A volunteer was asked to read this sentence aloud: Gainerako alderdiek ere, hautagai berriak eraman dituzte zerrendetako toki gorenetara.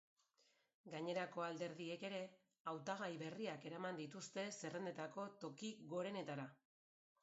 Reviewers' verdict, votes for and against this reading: accepted, 2, 0